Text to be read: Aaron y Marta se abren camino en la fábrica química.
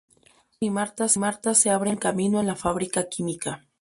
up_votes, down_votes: 0, 2